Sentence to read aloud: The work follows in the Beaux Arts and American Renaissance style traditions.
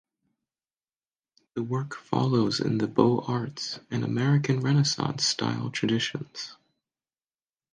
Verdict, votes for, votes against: accepted, 2, 0